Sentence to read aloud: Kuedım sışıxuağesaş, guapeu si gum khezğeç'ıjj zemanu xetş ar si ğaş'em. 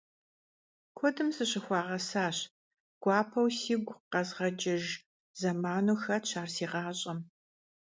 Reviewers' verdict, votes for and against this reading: rejected, 0, 2